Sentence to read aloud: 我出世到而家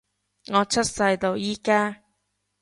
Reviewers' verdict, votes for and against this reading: rejected, 1, 2